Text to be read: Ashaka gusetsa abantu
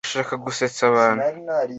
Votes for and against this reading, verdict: 2, 0, accepted